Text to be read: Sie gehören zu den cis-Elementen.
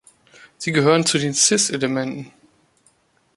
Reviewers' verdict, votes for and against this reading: accepted, 2, 0